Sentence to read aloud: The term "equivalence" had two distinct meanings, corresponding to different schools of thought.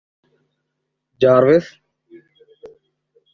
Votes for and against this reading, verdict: 0, 3, rejected